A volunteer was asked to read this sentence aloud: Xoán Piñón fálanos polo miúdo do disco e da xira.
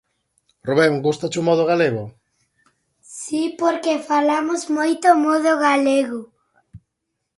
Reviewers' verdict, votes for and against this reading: rejected, 0, 2